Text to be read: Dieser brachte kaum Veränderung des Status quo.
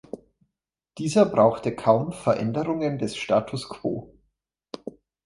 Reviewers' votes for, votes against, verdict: 0, 2, rejected